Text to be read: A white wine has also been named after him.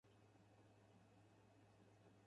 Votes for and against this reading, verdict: 0, 4, rejected